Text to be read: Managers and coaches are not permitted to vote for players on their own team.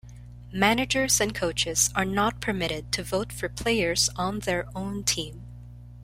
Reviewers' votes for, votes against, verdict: 2, 0, accepted